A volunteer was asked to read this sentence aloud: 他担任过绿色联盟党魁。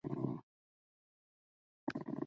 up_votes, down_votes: 0, 2